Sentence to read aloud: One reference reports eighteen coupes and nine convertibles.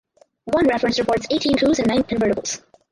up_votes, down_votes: 0, 4